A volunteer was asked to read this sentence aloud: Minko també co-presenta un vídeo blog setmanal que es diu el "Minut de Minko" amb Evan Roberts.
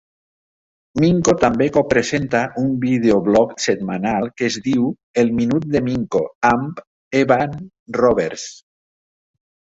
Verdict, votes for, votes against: accepted, 3, 0